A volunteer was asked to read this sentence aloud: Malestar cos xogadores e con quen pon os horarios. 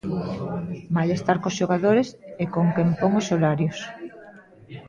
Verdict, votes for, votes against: rejected, 1, 2